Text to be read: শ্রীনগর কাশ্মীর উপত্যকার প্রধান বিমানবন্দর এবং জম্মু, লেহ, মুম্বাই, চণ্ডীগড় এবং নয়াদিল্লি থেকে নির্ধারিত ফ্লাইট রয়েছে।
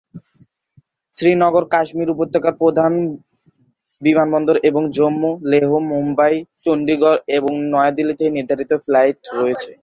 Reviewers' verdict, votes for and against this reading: accepted, 4, 2